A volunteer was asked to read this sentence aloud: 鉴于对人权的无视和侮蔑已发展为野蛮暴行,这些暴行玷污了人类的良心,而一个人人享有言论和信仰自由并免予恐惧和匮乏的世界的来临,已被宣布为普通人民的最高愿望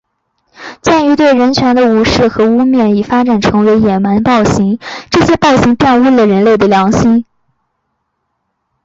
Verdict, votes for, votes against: rejected, 0, 2